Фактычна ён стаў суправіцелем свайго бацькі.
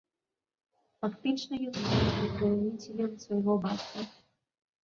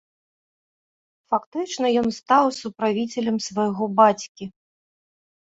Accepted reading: second